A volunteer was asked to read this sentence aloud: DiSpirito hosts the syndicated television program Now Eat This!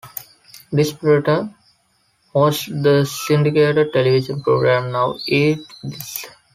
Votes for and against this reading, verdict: 1, 2, rejected